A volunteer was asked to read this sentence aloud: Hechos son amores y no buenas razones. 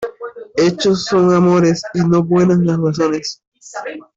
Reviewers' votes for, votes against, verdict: 0, 2, rejected